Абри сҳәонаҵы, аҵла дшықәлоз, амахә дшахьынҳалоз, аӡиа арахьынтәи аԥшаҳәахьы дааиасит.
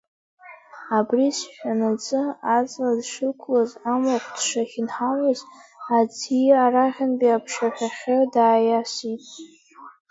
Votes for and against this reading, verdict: 1, 2, rejected